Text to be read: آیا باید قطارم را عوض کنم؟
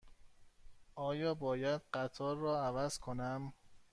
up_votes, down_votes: 1, 2